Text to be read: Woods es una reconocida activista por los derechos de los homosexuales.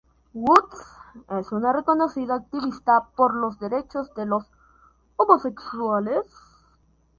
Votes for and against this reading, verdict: 2, 0, accepted